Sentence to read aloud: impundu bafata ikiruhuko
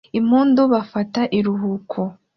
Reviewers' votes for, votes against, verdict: 2, 1, accepted